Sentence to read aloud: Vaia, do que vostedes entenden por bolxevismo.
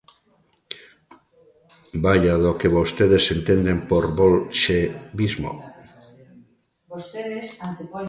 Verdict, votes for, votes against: rejected, 0, 2